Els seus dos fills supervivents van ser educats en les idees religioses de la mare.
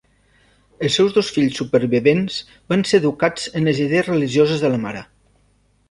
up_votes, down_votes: 3, 0